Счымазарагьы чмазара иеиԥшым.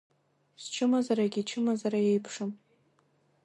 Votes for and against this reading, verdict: 1, 2, rejected